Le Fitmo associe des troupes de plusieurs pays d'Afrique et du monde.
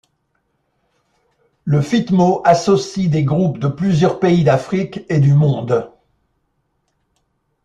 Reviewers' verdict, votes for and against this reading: rejected, 1, 2